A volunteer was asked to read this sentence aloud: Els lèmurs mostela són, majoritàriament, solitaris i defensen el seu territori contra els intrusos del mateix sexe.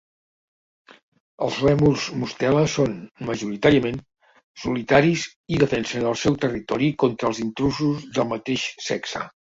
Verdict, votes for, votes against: accepted, 2, 0